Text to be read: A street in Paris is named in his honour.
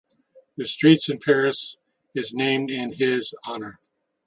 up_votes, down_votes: 1, 2